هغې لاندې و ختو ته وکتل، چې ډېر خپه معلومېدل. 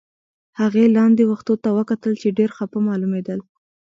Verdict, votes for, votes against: rejected, 0, 2